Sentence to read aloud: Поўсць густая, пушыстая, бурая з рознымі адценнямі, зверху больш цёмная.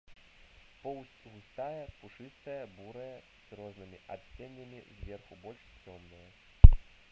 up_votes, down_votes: 0, 2